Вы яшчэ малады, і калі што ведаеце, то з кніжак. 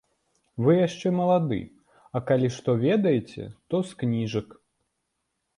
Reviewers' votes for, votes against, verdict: 1, 2, rejected